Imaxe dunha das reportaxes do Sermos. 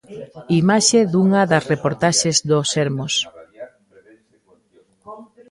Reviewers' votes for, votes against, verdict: 1, 2, rejected